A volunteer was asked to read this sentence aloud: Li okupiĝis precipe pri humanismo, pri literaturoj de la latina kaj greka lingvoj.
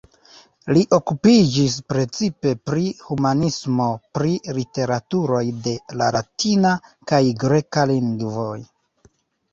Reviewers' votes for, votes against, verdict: 0, 2, rejected